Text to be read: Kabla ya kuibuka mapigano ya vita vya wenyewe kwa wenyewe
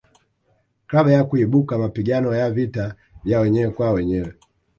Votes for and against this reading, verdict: 1, 3, rejected